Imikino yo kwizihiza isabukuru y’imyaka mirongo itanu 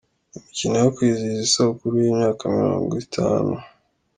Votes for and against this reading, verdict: 2, 0, accepted